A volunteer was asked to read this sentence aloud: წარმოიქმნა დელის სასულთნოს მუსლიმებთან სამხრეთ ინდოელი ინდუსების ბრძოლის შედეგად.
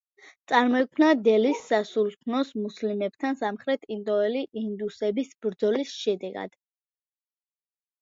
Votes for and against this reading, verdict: 2, 1, accepted